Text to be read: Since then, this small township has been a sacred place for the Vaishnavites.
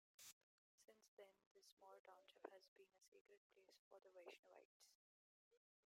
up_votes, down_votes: 0, 2